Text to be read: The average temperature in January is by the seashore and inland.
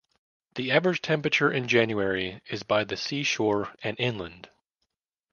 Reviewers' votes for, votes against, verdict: 2, 0, accepted